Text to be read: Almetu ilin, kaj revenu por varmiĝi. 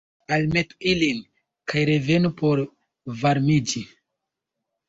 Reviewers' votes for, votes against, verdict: 1, 2, rejected